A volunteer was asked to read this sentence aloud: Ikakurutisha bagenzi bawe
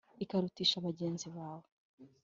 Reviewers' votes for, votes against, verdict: 3, 0, accepted